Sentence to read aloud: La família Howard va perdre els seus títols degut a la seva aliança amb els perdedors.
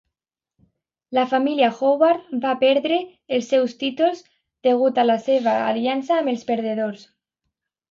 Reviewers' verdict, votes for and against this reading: accepted, 2, 0